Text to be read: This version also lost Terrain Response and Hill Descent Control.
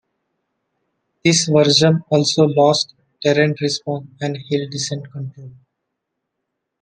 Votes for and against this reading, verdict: 1, 2, rejected